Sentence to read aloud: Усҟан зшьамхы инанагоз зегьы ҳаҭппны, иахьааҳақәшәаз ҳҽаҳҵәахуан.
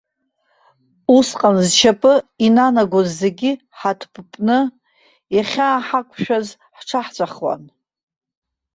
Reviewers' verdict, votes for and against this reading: rejected, 0, 2